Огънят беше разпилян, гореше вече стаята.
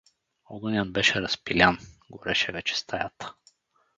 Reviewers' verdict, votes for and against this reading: accepted, 2, 0